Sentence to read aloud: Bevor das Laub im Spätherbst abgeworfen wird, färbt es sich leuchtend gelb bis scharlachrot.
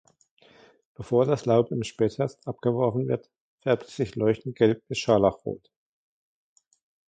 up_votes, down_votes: 2, 1